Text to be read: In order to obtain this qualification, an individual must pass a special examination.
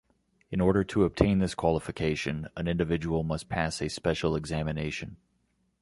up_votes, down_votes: 2, 0